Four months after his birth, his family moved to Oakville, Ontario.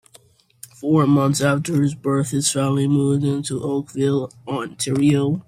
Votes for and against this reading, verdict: 1, 2, rejected